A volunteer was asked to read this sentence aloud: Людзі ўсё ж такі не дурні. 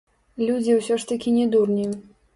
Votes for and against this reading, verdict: 0, 2, rejected